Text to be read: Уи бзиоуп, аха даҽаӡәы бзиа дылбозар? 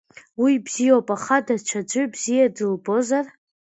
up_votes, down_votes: 2, 1